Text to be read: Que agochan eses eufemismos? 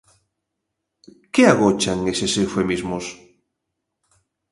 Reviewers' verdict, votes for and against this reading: accepted, 2, 0